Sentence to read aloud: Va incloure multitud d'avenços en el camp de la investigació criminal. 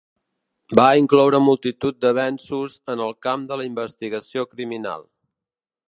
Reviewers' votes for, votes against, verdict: 2, 0, accepted